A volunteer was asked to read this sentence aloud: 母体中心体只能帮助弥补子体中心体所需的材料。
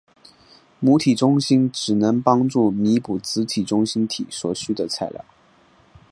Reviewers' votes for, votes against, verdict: 3, 0, accepted